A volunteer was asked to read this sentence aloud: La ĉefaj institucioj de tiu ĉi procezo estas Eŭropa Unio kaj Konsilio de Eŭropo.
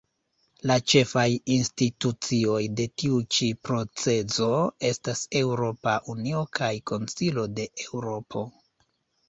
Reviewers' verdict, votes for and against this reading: rejected, 1, 2